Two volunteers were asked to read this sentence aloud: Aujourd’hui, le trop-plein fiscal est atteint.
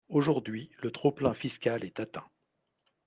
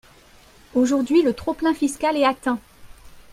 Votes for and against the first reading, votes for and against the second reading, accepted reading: 2, 0, 0, 2, first